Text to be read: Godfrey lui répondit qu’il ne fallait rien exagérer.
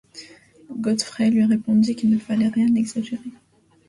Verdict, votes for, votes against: accepted, 2, 0